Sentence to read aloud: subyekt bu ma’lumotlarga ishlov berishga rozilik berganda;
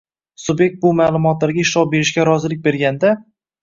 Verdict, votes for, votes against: accepted, 2, 1